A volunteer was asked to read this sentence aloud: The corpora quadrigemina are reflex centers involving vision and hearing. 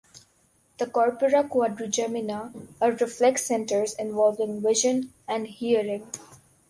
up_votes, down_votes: 2, 0